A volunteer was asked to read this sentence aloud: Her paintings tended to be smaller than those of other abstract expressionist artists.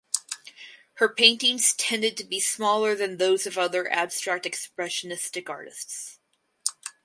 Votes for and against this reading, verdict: 2, 2, rejected